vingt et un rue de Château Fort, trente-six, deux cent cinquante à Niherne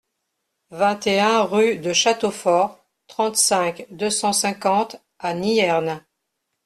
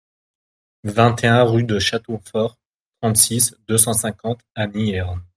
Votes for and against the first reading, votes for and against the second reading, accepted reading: 0, 3, 2, 0, second